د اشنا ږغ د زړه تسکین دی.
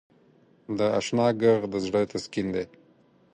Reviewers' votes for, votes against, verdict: 0, 4, rejected